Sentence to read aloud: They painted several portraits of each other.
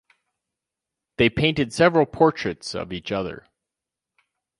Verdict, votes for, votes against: accepted, 2, 0